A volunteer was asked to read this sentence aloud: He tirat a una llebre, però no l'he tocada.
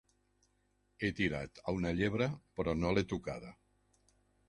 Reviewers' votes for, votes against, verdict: 0, 2, rejected